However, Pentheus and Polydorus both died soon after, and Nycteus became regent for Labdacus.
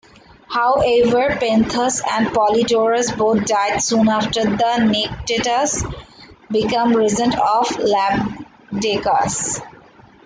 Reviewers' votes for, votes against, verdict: 0, 2, rejected